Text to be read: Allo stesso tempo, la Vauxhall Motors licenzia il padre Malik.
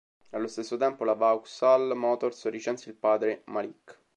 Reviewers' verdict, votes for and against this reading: accepted, 2, 1